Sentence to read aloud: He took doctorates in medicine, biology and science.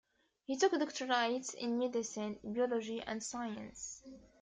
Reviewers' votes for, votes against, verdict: 2, 1, accepted